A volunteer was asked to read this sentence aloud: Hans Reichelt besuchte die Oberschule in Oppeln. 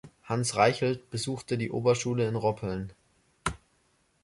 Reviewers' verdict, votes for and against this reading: rejected, 0, 2